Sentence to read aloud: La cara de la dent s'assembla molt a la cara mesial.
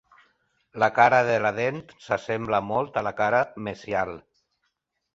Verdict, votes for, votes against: accepted, 2, 0